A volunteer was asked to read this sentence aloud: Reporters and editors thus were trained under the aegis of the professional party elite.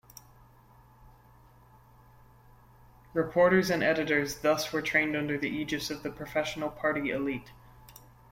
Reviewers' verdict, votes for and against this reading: accepted, 2, 1